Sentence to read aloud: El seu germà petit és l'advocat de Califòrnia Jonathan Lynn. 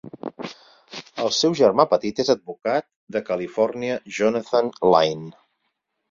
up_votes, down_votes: 2, 4